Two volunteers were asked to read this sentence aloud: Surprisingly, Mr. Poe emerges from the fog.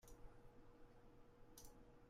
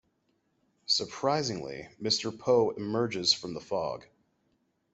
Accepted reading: second